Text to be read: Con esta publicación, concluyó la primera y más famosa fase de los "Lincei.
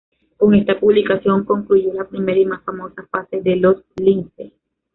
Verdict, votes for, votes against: rejected, 1, 2